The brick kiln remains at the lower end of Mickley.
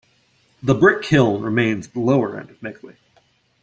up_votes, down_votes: 0, 2